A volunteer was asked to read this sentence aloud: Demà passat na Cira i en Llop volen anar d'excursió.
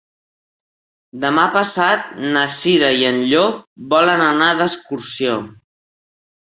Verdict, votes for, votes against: accepted, 3, 0